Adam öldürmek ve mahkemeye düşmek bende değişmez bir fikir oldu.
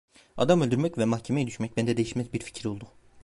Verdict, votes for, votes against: rejected, 1, 2